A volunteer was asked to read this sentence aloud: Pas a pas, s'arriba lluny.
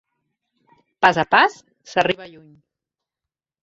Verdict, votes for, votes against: rejected, 0, 2